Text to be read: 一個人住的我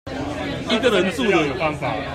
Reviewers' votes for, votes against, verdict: 0, 2, rejected